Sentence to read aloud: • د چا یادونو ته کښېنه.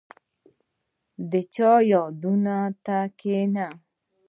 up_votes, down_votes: 2, 0